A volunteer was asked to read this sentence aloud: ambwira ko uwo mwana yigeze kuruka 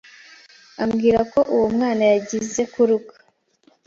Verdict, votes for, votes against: rejected, 1, 2